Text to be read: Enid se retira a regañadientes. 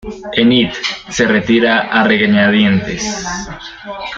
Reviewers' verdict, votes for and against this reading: rejected, 1, 2